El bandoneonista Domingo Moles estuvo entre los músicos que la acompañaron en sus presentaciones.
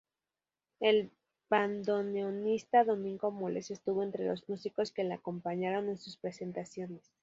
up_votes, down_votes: 2, 2